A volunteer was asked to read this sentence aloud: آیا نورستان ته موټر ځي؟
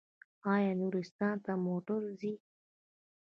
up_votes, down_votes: 2, 0